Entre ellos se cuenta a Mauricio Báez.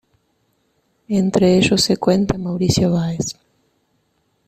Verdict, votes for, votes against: accepted, 2, 0